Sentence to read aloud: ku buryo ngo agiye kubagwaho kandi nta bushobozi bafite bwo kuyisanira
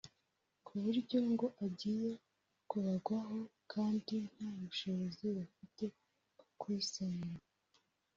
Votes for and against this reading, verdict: 1, 2, rejected